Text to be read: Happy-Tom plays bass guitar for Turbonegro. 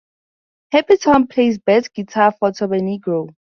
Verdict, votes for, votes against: accepted, 4, 0